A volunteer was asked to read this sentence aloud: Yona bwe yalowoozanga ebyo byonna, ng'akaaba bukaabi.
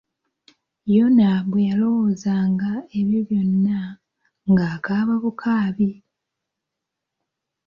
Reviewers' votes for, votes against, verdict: 2, 0, accepted